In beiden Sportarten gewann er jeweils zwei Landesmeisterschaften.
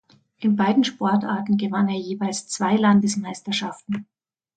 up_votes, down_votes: 0, 2